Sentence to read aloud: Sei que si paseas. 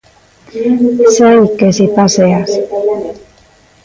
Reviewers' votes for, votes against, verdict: 1, 2, rejected